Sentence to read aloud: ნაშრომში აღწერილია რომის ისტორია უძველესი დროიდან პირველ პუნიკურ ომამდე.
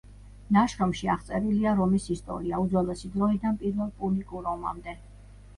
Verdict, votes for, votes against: rejected, 0, 2